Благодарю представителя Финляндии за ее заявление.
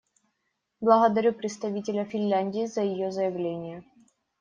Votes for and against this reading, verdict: 2, 0, accepted